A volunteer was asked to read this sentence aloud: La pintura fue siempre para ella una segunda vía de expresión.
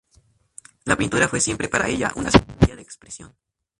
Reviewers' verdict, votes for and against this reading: accepted, 2, 0